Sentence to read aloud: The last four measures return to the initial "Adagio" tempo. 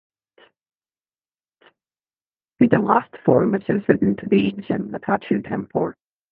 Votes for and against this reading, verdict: 0, 2, rejected